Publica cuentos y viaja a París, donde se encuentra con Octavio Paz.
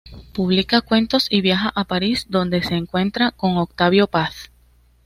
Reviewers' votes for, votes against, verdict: 2, 0, accepted